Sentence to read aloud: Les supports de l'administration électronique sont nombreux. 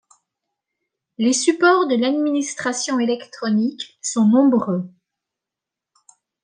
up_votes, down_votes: 2, 0